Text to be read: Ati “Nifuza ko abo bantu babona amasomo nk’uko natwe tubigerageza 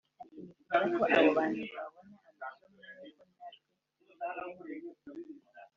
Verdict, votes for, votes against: rejected, 1, 3